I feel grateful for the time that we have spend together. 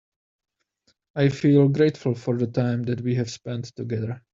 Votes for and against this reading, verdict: 1, 2, rejected